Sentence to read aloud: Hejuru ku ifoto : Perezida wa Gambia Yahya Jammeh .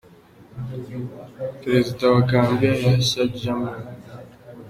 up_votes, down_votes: 0, 2